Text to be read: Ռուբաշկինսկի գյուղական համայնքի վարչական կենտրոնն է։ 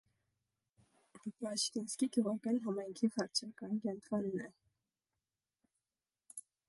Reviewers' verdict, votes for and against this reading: rejected, 0, 2